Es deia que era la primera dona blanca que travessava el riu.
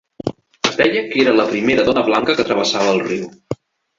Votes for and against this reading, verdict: 3, 0, accepted